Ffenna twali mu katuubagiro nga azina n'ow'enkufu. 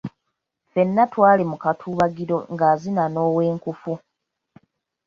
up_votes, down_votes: 2, 1